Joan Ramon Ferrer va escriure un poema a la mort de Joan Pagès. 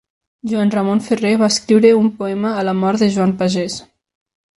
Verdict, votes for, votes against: accepted, 3, 0